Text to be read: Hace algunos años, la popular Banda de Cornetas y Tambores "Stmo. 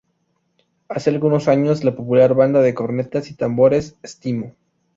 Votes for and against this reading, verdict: 2, 0, accepted